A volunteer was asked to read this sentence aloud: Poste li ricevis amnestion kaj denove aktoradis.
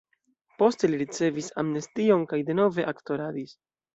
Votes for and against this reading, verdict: 2, 0, accepted